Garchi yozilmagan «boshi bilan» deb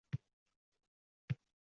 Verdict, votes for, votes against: rejected, 0, 2